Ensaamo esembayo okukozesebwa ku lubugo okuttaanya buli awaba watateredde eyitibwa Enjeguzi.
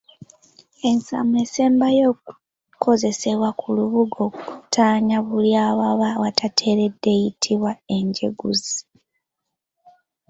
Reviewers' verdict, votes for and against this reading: accepted, 3, 1